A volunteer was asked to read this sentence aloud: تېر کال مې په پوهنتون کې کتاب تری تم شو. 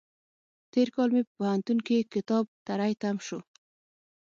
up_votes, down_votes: 3, 6